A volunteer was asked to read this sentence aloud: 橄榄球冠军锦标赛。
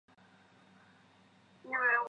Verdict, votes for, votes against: accepted, 6, 2